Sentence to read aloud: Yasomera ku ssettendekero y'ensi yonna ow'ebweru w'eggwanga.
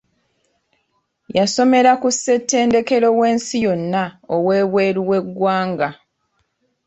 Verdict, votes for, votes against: rejected, 1, 2